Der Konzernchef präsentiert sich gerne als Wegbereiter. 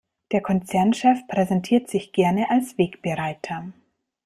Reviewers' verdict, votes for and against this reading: accepted, 2, 0